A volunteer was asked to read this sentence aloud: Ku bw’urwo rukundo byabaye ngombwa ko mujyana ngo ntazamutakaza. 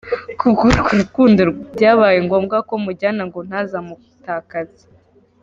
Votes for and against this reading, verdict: 1, 2, rejected